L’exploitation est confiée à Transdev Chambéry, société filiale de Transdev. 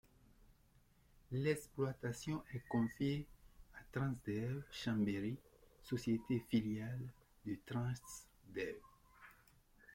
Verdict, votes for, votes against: accepted, 2, 0